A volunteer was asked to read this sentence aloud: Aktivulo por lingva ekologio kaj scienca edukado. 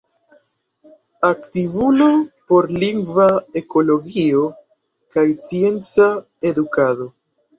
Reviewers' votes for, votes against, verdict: 0, 3, rejected